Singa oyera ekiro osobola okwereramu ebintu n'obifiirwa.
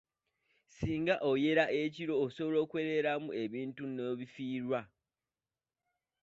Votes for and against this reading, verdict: 2, 1, accepted